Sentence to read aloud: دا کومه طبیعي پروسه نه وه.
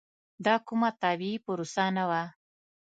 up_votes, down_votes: 2, 0